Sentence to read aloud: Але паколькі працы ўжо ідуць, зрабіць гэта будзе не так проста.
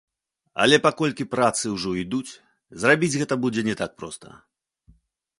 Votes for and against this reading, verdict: 2, 1, accepted